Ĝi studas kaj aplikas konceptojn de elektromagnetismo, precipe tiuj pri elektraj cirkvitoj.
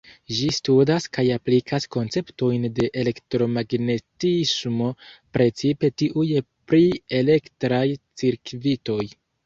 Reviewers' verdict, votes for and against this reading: rejected, 1, 2